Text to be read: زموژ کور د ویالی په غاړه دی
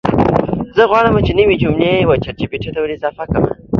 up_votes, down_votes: 1, 2